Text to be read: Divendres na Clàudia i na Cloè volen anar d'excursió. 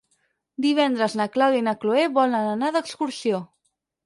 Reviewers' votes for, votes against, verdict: 6, 0, accepted